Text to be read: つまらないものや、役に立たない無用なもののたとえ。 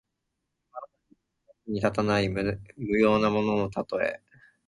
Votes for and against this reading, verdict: 1, 2, rejected